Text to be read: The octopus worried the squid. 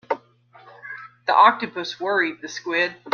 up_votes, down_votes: 2, 0